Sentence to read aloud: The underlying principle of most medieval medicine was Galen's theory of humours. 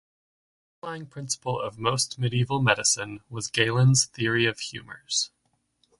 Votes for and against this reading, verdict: 0, 3, rejected